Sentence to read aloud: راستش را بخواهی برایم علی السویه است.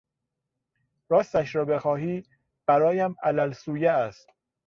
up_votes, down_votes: 1, 2